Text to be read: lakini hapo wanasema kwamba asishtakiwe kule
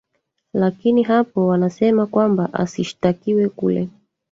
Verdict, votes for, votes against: rejected, 1, 2